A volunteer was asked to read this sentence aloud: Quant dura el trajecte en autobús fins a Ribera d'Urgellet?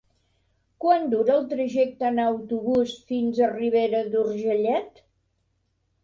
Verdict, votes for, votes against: accepted, 2, 0